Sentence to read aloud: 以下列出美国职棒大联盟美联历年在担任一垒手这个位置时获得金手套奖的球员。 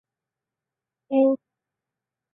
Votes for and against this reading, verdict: 0, 6, rejected